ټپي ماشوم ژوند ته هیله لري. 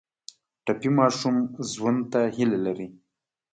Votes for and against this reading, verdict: 2, 0, accepted